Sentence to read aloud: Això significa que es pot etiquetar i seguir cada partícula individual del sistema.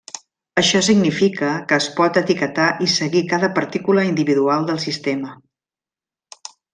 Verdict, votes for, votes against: accepted, 3, 0